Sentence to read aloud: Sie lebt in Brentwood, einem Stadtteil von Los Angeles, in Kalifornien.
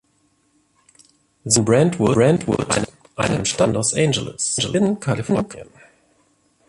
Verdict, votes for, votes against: rejected, 0, 2